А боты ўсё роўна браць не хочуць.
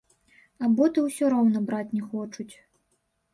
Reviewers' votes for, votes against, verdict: 1, 2, rejected